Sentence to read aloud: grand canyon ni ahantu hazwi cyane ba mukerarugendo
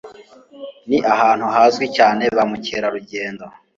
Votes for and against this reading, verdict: 1, 2, rejected